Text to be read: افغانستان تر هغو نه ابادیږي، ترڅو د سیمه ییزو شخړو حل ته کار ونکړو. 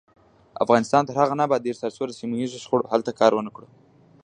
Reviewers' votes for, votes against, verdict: 2, 0, accepted